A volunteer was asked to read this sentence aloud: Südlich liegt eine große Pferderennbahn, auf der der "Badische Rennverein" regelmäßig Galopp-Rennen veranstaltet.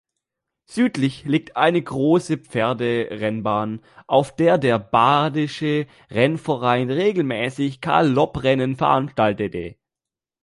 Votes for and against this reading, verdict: 0, 2, rejected